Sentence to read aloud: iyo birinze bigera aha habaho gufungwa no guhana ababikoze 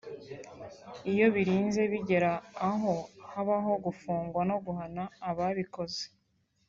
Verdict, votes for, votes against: accepted, 2, 0